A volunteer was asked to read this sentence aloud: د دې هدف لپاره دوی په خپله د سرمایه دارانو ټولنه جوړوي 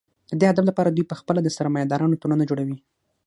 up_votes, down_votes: 6, 0